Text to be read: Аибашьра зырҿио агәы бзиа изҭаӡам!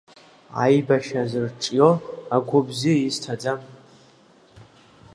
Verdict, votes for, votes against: rejected, 1, 2